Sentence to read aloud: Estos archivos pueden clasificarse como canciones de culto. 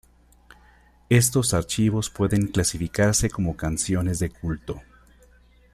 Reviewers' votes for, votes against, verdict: 2, 1, accepted